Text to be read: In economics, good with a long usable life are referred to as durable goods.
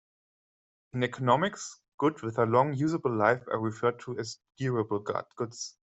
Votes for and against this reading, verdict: 0, 2, rejected